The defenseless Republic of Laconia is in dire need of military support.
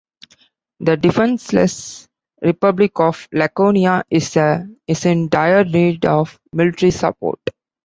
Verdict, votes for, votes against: accepted, 2, 0